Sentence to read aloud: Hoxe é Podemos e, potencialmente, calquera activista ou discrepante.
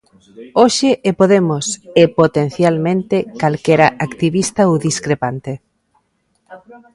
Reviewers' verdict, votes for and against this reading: rejected, 1, 2